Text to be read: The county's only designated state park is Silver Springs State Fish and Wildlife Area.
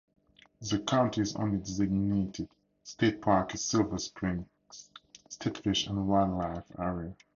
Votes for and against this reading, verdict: 0, 2, rejected